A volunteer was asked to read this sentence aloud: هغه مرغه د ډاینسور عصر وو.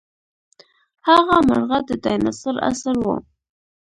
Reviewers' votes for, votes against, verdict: 0, 2, rejected